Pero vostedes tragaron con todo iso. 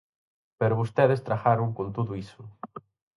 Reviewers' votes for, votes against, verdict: 4, 0, accepted